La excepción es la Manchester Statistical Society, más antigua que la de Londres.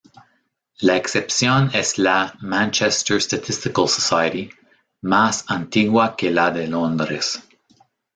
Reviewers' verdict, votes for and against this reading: rejected, 1, 2